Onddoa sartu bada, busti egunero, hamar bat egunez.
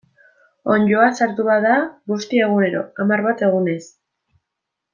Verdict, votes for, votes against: accepted, 2, 0